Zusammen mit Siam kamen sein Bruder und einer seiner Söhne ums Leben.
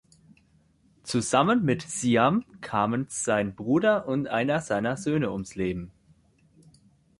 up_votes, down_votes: 2, 0